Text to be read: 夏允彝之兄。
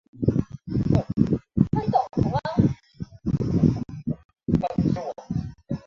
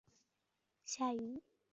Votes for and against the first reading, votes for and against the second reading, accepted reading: 0, 2, 3, 2, second